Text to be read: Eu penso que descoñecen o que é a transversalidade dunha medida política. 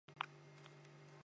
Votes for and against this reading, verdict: 0, 2, rejected